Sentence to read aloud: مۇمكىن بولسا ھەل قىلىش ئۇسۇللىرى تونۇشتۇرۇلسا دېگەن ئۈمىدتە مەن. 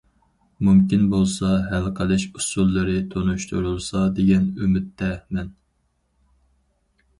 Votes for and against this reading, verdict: 4, 0, accepted